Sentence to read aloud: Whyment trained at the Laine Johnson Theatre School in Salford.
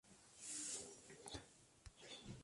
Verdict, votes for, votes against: rejected, 0, 2